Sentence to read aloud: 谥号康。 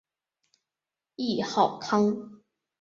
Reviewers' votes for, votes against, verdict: 1, 4, rejected